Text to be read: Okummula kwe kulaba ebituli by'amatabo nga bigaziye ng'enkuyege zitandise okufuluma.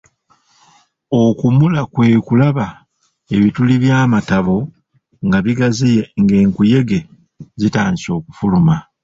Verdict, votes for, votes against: rejected, 1, 2